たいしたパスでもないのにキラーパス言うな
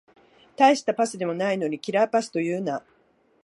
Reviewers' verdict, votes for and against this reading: rejected, 1, 2